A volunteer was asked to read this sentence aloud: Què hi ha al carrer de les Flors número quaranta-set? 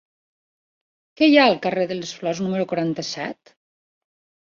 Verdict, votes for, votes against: rejected, 1, 2